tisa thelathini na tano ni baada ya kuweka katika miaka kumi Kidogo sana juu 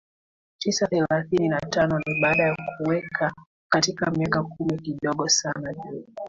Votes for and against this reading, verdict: 2, 1, accepted